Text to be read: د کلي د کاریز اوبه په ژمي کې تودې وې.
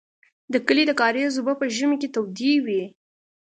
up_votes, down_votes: 2, 0